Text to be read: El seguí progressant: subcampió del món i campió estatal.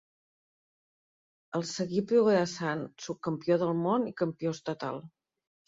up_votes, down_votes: 2, 1